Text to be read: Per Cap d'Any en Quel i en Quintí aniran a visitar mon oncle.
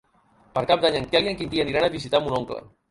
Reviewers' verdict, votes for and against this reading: rejected, 0, 2